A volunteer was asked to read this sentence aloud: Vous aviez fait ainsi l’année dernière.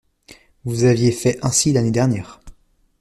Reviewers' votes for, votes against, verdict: 2, 0, accepted